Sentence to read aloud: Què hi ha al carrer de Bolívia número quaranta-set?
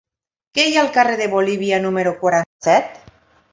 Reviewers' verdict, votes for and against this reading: rejected, 1, 2